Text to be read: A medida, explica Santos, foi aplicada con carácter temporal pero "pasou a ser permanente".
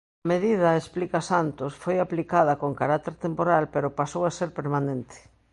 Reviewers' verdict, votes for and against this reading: rejected, 1, 2